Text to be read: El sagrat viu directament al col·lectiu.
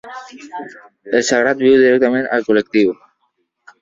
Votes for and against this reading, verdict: 1, 2, rejected